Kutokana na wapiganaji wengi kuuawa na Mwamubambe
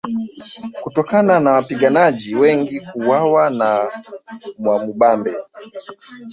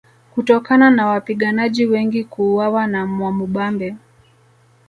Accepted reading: second